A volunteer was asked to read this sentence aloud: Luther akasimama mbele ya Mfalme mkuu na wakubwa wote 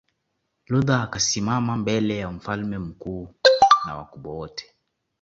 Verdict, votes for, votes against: accepted, 2, 1